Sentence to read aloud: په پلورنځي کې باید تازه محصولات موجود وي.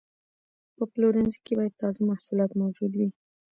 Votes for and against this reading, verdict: 0, 2, rejected